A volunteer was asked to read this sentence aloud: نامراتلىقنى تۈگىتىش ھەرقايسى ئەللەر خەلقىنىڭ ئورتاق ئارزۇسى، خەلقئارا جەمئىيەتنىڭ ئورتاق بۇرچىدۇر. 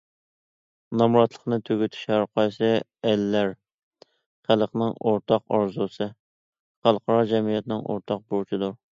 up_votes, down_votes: 0, 2